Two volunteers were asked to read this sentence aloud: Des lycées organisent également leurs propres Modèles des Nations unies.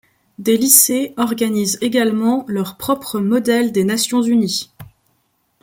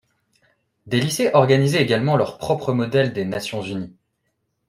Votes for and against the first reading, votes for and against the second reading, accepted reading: 2, 0, 0, 2, first